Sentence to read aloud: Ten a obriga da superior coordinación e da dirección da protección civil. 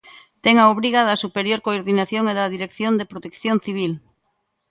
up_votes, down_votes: 0, 2